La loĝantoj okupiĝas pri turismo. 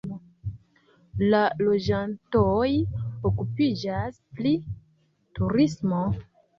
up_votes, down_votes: 0, 2